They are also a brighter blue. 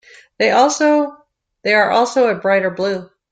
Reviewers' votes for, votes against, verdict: 0, 2, rejected